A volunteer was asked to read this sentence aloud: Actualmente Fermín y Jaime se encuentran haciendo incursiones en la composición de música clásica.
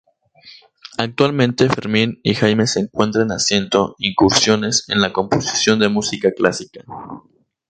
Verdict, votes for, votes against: accepted, 4, 0